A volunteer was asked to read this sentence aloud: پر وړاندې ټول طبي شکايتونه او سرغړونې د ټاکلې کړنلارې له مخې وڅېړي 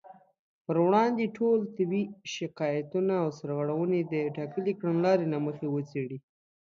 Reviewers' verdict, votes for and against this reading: accepted, 2, 0